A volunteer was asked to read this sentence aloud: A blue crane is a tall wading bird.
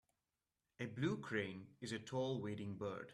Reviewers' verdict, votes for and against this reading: accepted, 2, 0